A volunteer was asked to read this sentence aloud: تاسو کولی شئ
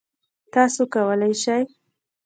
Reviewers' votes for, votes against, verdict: 0, 2, rejected